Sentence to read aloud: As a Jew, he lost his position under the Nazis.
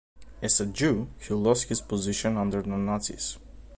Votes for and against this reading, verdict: 2, 0, accepted